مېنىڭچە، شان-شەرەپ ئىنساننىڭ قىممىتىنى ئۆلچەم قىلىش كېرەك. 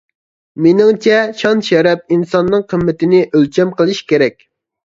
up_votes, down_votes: 2, 0